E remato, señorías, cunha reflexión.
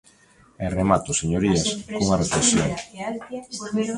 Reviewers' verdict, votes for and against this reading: rejected, 0, 2